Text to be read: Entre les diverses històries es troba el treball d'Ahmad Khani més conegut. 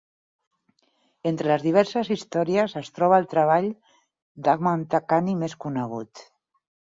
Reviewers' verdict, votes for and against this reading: accepted, 4, 2